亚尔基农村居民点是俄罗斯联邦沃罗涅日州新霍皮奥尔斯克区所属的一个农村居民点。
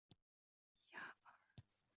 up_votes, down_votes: 0, 3